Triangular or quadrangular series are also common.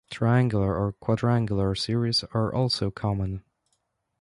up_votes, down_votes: 2, 0